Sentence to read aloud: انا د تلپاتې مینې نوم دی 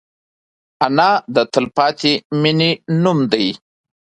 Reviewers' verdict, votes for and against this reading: rejected, 1, 2